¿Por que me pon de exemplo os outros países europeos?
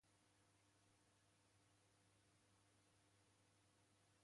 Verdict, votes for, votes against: rejected, 0, 2